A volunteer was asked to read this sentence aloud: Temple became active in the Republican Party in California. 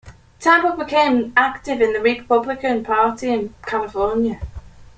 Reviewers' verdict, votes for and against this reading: accepted, 2, 0